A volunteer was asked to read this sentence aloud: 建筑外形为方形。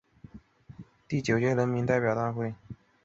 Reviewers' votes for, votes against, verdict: 0, 2, rejected